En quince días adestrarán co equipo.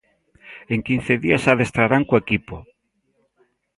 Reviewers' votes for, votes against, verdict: 2, 0, accepted